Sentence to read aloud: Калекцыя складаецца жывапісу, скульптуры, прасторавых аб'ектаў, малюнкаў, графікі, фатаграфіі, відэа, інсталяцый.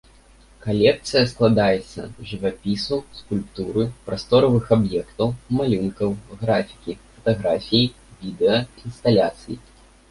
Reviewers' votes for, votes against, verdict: 1, 2, rejected